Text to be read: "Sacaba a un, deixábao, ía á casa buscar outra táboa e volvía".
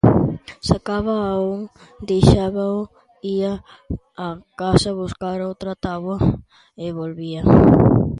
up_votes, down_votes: 2, 0